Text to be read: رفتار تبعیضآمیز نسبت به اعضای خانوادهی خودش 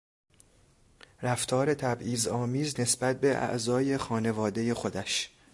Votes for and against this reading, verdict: 2, 0, accepted